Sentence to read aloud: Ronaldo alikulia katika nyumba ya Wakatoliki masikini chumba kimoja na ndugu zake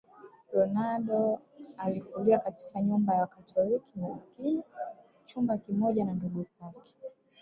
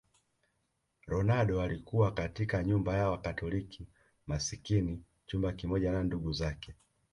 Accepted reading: second